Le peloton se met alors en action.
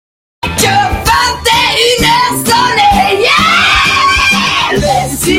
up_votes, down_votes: 0, 2